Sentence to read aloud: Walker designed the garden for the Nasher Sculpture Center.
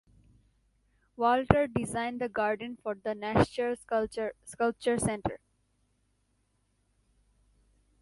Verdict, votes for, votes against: rejected, 1, 2